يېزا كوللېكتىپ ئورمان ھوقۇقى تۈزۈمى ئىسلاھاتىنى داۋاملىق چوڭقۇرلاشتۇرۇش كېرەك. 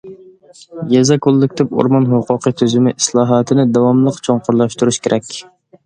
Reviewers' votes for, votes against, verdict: 2, 0, accepted